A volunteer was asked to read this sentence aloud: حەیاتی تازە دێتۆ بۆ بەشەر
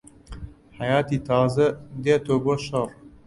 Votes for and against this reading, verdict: 0, 2, rejected